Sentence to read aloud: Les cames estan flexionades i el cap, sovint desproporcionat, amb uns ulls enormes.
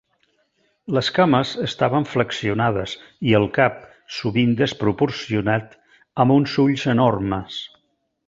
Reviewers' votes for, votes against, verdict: 1, 2, rejected